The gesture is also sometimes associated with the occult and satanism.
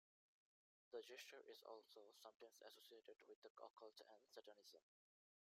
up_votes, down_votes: 0, 2